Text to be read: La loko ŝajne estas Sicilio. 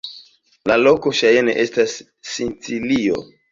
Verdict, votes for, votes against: rejected, 1, 2